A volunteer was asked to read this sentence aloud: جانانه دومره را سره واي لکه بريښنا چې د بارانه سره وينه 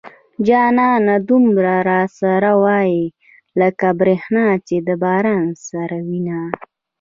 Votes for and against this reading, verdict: 0, 2, rejected